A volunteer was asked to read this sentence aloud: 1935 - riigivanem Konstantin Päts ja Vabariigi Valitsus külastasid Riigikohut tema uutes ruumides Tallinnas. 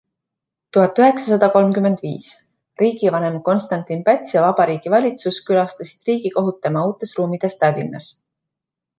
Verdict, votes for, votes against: rejected, 0, 2